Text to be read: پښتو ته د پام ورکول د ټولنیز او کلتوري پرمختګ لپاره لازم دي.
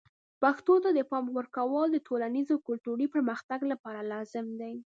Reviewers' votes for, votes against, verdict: 2, 0, accepted